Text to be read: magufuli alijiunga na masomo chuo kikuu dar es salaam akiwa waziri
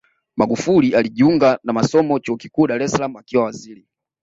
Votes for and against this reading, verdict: 2, 0, accepted